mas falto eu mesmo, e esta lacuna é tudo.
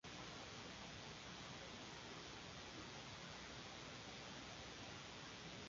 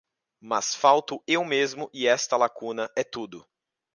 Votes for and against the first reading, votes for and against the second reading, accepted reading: 0, 2, 2, 0, second